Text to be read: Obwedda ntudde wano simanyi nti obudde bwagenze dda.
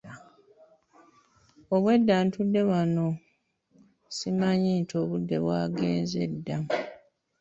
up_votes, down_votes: 1, 2